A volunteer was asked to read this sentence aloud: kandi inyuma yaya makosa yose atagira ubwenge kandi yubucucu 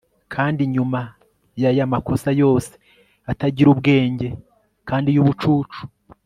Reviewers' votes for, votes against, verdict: 2, 0, accepted